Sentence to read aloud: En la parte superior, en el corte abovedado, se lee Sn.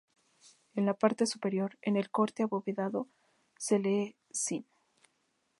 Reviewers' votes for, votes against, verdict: 2, 2, rejected